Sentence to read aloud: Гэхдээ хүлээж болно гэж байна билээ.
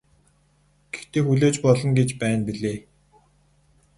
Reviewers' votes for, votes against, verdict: 0, 2, rejected